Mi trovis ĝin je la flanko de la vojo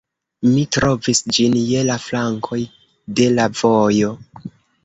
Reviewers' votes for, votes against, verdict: 1, 2, rejected